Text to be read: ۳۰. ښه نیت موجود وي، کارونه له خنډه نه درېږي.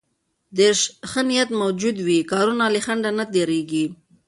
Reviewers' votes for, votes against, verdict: 0, 2, rejected